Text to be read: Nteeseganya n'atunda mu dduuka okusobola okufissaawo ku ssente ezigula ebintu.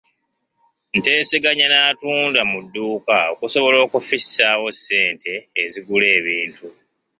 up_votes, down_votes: 2, 0